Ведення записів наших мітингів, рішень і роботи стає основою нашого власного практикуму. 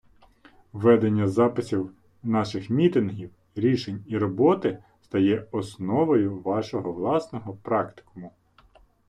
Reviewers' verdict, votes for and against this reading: rejected, 0, 2